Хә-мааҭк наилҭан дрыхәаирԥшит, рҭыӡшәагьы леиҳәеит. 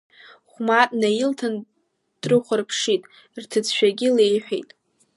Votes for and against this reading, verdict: 1, 2, rejected